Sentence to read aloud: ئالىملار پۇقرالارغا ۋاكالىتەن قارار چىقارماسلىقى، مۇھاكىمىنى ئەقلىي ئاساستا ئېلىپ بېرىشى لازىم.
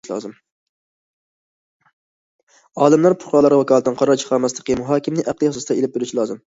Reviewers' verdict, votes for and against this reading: rejected, 0, 2